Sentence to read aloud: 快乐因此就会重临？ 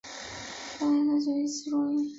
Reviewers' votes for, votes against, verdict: 0, 3, rejected